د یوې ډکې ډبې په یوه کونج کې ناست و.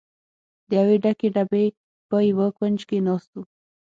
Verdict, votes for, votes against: accepted, 6, 0